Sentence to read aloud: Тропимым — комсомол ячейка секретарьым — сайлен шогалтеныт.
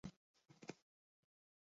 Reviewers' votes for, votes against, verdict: 0, 2, rejected